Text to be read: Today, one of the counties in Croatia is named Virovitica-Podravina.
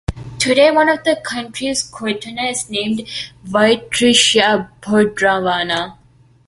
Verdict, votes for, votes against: accepted, 2, 0